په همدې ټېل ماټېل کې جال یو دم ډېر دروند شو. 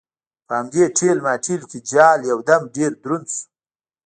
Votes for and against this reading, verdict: 2, 1, accepted